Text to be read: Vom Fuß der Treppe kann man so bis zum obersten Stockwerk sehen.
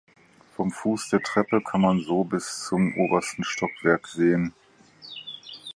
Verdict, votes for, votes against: accepted, 4, 0